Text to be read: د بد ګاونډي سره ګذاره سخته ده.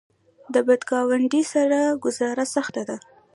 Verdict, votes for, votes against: rejected, 0, 2